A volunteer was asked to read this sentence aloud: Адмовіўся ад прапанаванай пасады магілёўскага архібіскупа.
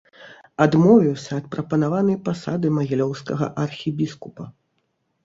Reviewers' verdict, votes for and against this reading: accepted, 2, 0